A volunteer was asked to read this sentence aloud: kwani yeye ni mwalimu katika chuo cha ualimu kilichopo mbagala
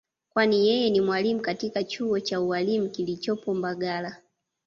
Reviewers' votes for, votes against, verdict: 2, 0, accepted